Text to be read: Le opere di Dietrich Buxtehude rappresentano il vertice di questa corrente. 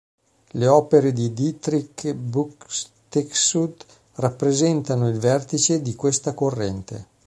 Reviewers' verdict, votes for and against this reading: rejected, 1, 2